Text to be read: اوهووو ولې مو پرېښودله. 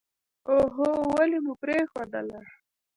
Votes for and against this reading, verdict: 2, 0, accepted